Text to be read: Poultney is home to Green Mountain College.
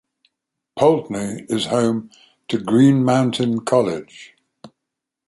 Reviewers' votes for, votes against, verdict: 4, 0, accepted